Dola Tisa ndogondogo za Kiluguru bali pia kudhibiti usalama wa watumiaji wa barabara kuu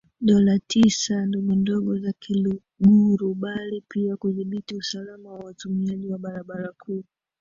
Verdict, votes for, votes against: rejected, 0, 2